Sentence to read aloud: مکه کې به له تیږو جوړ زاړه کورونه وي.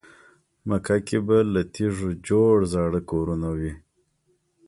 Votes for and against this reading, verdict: 2, 0, accepted